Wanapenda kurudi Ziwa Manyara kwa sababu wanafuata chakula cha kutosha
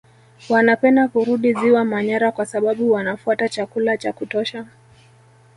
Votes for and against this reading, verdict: 1, 3, rejected